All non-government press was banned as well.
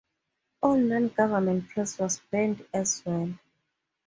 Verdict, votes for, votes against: accepted, 2, 0